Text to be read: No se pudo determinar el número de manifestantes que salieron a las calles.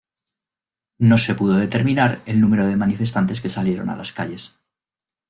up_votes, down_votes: 2, 0